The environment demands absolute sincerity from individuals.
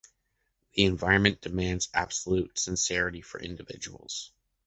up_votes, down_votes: 2, 1